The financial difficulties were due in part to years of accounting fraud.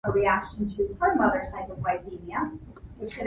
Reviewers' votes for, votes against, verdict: 0, 2, rejected